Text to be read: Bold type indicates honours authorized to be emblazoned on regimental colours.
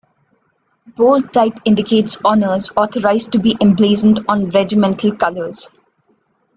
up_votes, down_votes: 0, 2